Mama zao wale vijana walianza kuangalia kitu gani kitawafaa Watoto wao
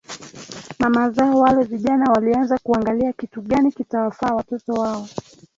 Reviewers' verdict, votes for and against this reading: accepted, 2, 0